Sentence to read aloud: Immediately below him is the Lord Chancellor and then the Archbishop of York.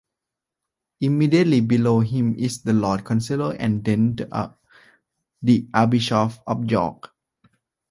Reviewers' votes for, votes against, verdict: 0, 2, rejected